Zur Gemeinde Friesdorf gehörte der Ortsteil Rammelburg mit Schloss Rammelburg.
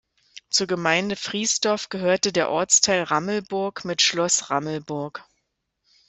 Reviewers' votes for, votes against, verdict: 2, 0, accepted